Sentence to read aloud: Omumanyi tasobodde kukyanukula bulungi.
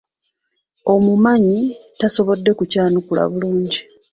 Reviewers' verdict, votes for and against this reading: rejected, 1, 2